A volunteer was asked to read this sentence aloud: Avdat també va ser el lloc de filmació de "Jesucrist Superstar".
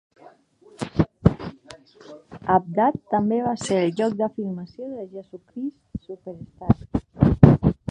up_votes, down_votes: 1, 2